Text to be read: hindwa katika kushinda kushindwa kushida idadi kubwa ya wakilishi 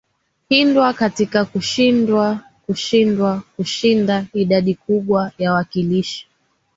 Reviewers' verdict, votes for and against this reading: accepted, 6, 4